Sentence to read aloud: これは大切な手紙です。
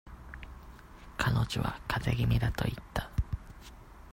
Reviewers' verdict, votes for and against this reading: rejected, 0, 2